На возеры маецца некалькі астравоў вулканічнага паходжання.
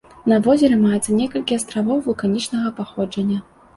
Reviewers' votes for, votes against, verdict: 2, 0, accepted